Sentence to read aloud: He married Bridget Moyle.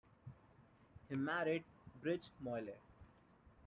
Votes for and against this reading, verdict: 1, 2, rejected